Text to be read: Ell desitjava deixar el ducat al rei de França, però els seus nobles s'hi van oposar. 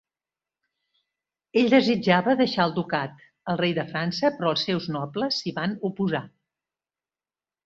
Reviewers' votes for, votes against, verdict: 2, 0, accepted